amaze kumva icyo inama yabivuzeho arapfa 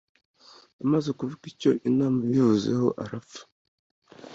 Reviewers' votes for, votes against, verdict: 2, 1, accepted